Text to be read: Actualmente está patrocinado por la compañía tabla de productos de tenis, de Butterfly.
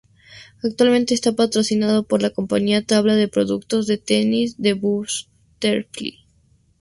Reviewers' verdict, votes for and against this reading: rejected, 0, 2